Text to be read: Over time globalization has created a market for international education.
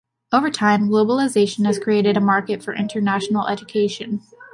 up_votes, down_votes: 2, 0